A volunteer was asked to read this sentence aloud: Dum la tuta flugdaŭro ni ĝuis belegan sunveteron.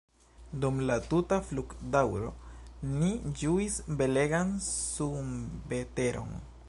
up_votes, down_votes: 1, 2